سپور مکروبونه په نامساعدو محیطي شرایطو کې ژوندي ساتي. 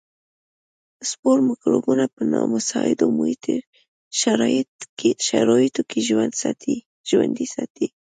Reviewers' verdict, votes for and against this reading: accepted, 2, 0